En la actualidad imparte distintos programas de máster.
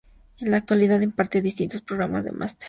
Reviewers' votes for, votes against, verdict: 2, 0, accepted